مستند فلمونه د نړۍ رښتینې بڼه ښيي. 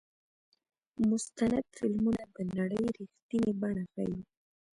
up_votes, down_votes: 2, 0